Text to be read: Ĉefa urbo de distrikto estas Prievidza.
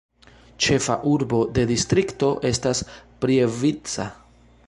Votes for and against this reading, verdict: 1, 2, rejected